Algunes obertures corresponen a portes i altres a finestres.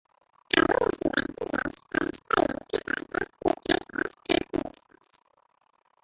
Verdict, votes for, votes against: rejected, 0, 2